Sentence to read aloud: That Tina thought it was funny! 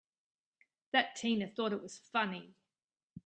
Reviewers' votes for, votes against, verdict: 3, 0, accepted